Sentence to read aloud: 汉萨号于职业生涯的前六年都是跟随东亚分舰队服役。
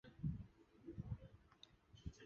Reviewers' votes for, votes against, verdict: 0, 6, rejected